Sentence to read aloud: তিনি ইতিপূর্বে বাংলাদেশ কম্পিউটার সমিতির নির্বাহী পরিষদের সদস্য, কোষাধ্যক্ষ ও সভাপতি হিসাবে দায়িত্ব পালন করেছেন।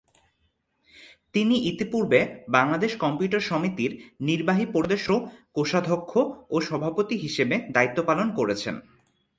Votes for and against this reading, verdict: 0, 2, rejected